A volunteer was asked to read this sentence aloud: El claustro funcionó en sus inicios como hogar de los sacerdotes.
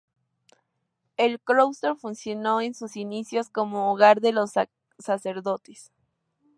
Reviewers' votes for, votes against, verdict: 0, 2, rejected